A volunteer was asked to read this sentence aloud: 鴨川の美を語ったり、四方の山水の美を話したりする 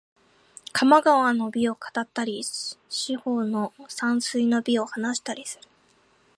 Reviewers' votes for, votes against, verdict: 5, 0, accepted